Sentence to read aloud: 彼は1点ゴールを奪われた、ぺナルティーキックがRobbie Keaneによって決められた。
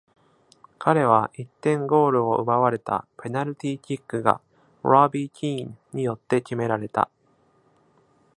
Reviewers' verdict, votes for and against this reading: rejected, 0, 2